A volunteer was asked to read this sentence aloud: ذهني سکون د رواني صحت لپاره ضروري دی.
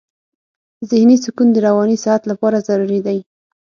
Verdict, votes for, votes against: accepted, 6, 0